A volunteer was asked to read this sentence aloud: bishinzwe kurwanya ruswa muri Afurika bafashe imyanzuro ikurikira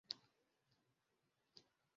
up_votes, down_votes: 0, 2